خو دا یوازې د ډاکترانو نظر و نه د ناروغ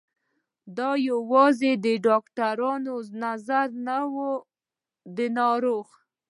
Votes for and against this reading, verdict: 1, 3, rejected